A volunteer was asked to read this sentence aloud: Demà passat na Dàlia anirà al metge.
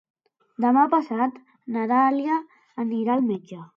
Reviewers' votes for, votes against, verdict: 2, 0, accepted